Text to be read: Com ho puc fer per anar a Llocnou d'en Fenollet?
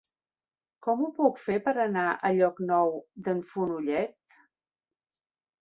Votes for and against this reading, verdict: 0, 2, rejected